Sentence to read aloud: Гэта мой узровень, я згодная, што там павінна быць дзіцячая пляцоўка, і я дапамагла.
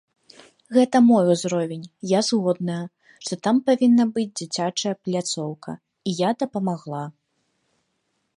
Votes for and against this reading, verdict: 2, 0, accepted